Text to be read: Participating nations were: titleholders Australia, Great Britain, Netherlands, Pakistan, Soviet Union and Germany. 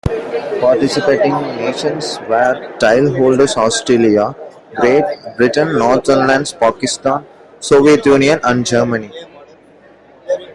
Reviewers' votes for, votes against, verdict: 2, 0, accepted